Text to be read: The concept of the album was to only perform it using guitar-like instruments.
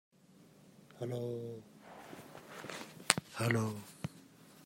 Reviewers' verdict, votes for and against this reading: rejected, 0, 2